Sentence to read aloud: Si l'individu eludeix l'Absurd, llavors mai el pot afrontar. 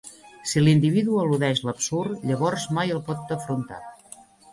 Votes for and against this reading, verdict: 2, 0, accepted